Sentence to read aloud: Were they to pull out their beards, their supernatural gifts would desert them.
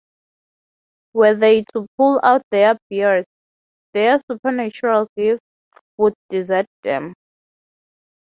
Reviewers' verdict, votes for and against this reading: rejected, 0, 3